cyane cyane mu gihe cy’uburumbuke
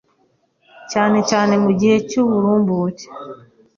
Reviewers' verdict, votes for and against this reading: accepted, 2, 0